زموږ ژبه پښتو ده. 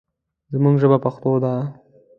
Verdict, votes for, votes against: accepted, 2, 0